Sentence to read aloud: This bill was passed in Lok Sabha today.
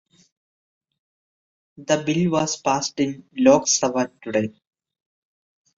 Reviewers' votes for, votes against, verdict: 1, 2, rejected